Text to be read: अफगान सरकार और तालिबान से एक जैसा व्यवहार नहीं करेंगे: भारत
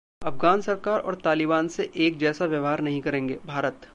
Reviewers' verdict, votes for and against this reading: rejected, 1, 2